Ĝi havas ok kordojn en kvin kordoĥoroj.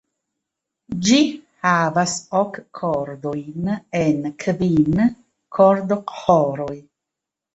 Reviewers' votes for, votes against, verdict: 2, 1, accepted